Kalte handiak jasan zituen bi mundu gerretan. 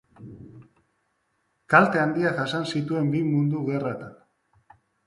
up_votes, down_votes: 3, 1